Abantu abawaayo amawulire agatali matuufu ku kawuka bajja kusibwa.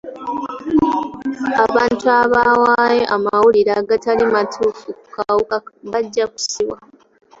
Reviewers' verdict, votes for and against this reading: rejected, 0, 2